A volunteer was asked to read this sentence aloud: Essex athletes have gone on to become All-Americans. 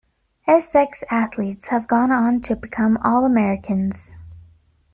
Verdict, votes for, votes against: accepted, 2, 0